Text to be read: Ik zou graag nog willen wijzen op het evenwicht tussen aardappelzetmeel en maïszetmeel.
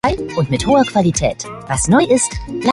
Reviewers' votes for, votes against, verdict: 0, 2, rejected